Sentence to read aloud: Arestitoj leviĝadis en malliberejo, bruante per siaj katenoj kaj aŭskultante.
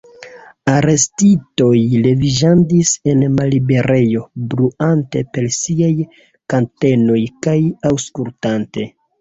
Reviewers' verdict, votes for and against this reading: rejected, 0, 2